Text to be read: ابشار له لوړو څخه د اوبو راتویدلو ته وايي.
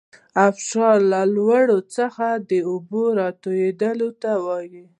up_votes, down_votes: 0, 2